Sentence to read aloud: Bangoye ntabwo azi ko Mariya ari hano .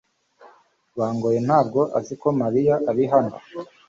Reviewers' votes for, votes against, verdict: 2, 0, accepted